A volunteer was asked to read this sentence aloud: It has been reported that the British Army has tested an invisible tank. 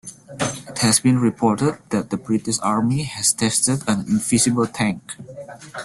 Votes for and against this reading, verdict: 1, 2, rejected